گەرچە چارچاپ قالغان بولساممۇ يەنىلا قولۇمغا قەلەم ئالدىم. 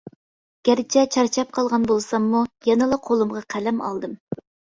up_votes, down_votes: 2, 0